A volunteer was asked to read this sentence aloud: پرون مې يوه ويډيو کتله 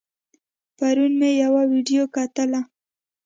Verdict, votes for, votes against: accepted, 2, 0